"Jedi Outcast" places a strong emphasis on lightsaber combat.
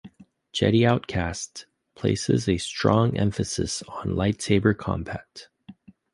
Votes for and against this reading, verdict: 1, 3, rejected